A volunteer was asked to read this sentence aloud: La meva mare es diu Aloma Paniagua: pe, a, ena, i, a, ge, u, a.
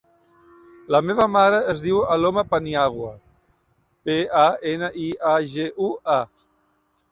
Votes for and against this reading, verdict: 2, 0, accepted